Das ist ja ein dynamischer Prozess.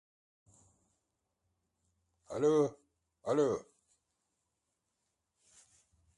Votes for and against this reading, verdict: 0, 2, rejected